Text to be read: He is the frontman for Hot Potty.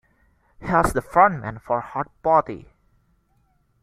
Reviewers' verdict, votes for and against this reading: rejected, 0, 2